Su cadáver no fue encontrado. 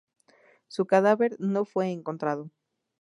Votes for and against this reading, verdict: 2, 0, accepted